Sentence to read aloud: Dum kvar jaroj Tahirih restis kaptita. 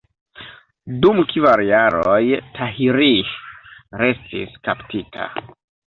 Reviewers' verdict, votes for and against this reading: rejected, 1, 2